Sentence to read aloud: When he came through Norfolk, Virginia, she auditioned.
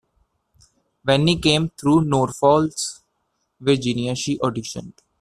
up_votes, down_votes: 0, 2